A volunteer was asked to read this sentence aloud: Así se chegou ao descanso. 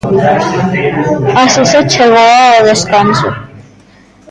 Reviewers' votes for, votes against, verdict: 1, 2, rejected